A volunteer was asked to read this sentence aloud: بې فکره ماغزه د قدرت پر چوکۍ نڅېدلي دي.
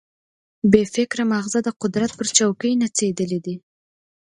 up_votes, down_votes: 2, 0